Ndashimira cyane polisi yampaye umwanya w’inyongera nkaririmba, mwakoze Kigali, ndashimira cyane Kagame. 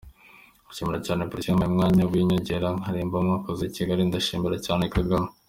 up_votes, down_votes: 2, 0